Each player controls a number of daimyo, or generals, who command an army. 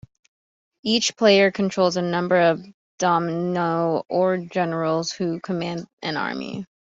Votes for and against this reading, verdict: 0, 2, rejected